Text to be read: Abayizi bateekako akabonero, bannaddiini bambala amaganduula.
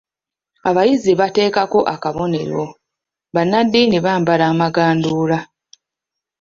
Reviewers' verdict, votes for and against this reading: accepted, 2, 0